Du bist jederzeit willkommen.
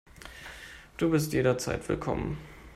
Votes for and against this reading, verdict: 2, 0, accepted